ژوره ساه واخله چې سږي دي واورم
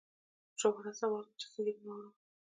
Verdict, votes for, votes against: rejected, 0, 2